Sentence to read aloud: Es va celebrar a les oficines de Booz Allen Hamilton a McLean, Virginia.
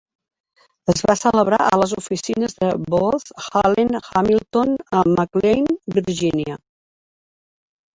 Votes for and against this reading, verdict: 2, 0, accepted